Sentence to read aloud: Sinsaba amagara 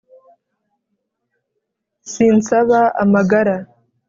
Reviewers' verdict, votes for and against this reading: accepted, 2, 0